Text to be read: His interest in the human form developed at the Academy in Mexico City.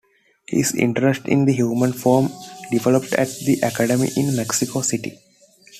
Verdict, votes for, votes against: accepted, 2, 0